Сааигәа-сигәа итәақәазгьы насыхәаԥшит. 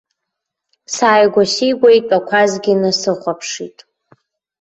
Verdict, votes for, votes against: accepted, 2, 0